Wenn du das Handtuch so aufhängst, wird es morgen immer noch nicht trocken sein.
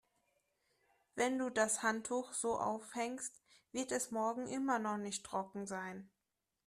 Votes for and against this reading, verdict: 3, 0, accepted